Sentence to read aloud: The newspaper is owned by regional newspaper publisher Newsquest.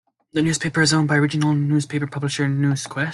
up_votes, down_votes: 2, 0